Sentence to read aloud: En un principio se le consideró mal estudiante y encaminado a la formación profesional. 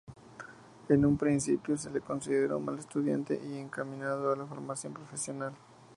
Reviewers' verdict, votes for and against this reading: rejected, 2, 2